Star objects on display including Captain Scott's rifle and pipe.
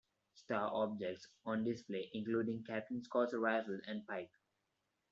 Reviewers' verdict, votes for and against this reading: accepted, 2, 1